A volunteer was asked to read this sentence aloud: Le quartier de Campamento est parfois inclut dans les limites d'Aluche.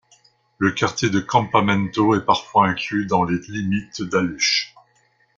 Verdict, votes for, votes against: rejected, 1, 2